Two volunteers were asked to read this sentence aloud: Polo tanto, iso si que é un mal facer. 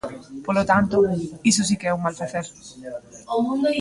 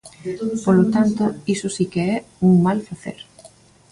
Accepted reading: first